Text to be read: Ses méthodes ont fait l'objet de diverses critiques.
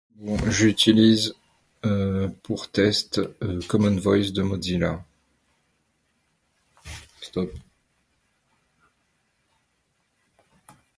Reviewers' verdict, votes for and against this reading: rejected, 0, 2